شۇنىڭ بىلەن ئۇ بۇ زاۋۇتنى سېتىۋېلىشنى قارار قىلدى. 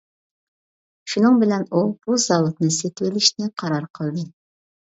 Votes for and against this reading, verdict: 2, 0, accepted